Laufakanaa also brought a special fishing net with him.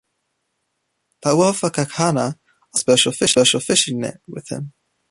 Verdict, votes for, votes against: rejected, 1, 2